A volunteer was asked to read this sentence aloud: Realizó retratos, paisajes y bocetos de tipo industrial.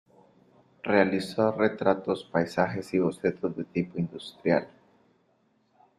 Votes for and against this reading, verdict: 1, 2, rejected